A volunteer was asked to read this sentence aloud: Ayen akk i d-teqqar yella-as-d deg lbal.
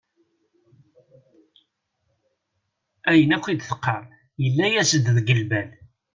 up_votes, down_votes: 2, 0